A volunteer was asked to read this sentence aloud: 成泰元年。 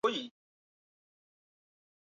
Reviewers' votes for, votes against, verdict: 0, 2, rejected